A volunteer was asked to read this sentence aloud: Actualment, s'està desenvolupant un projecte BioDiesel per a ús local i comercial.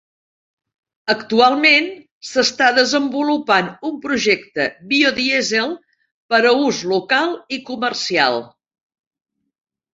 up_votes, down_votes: 3, 0